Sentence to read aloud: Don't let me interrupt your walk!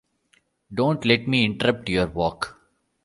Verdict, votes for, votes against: rejected, 1, 2